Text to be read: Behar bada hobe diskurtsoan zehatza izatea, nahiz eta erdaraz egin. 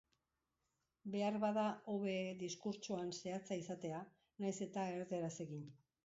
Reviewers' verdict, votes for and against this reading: rejected, 1, 4